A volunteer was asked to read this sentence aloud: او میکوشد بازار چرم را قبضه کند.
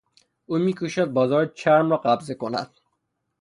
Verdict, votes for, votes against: rejected, 0, 3